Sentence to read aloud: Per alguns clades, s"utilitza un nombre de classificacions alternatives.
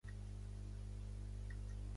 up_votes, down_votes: 1, 2